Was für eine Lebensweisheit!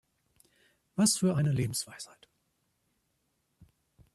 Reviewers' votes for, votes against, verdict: 2, 0, accepted